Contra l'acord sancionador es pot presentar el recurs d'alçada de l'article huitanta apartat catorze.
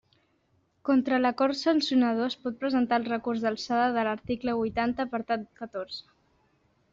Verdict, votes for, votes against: accepted, 2, 0